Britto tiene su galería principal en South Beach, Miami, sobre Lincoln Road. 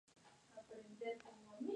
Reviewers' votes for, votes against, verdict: 0, 2, rejected